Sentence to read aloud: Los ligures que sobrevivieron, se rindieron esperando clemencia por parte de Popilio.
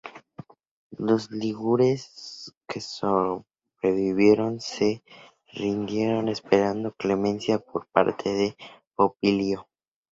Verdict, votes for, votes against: rejected, 2, 2